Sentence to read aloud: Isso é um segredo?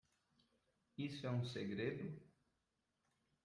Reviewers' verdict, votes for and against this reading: rejected, 0, 2